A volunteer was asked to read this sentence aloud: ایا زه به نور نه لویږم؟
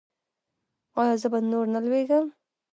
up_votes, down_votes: 1, 2